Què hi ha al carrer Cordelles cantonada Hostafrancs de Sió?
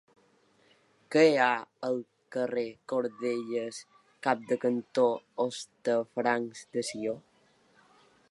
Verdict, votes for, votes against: rejected, 1, 2